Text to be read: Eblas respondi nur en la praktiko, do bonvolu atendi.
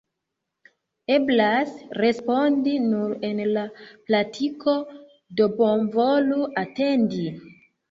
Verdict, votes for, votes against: rejected, 0, 2